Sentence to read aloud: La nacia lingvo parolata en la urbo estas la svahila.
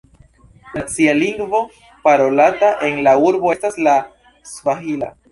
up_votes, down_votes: 1, 2